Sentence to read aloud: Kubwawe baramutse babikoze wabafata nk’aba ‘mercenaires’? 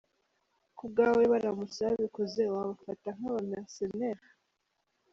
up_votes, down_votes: 0, 2